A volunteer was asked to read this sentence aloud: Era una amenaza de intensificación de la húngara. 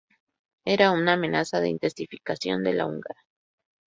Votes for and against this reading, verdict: 4, 2, accepted